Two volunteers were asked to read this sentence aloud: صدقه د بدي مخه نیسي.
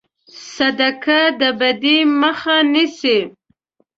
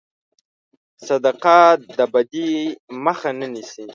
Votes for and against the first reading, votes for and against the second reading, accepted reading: 2, 0, 0, 2, first